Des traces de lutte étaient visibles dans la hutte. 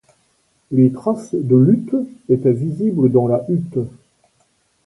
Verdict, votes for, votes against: rejected, 1, 2